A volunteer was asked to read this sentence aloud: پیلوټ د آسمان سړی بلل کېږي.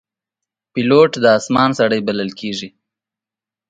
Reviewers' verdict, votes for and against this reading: accepted, 3, 0